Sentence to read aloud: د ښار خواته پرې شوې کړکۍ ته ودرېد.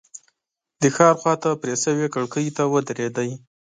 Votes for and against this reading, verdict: 1, 3, rejected